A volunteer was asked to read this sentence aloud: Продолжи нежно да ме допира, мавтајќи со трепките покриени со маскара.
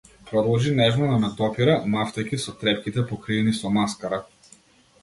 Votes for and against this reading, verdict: 2, 0, accepted